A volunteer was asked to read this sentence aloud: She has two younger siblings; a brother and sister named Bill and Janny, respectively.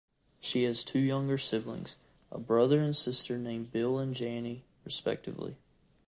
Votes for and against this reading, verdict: 2, 0, accepted